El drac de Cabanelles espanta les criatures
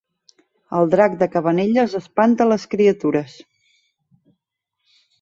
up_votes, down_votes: 3, 0